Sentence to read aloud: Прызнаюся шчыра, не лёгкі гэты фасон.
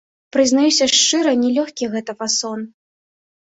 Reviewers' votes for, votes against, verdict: 2, 1, accepted